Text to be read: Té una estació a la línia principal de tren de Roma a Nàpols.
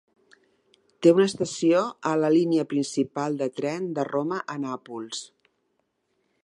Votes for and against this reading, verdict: 3, 0, accepted